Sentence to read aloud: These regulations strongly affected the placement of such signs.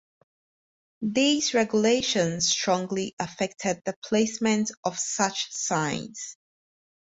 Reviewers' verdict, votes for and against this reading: accepted, 4, 0